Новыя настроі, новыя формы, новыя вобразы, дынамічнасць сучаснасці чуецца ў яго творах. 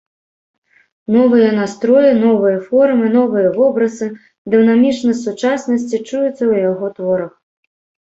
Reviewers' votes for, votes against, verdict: 2, 0, accepted